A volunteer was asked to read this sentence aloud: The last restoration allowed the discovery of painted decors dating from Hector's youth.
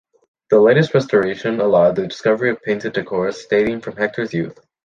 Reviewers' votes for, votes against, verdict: 0, 2, rejected